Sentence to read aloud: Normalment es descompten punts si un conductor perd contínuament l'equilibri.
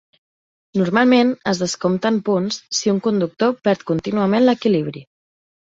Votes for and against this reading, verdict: 3, 0, accepted